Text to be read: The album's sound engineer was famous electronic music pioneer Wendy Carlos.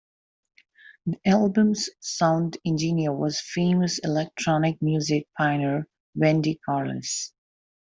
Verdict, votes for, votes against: accepted, 2, 0